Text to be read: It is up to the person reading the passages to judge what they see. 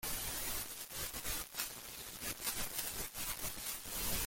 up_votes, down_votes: 0, 2